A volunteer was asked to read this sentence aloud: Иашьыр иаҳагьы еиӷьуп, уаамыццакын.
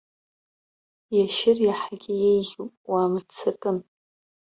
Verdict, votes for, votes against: rejected, 0, 2